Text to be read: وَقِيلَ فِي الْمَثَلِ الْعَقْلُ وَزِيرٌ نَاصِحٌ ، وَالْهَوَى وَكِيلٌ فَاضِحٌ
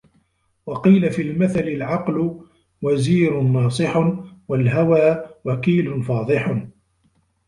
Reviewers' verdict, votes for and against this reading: rejected, 0, 2